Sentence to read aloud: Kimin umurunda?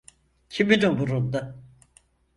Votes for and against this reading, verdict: 4, 0, accepted